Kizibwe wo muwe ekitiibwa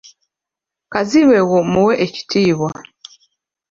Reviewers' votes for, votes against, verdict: 1, 2, rejected